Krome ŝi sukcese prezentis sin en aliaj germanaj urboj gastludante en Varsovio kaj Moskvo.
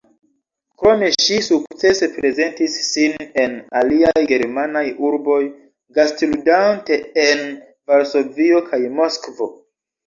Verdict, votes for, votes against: rejected, 1, 2